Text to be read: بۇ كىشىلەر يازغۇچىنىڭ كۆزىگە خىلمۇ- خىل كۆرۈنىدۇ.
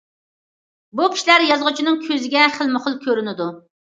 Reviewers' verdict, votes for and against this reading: accepted, 2, 0